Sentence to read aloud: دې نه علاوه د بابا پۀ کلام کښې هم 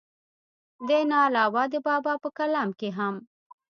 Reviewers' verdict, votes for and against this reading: rejected, 1, 2